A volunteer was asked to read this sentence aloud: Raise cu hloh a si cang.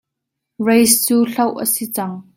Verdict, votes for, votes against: accepted, 2, 1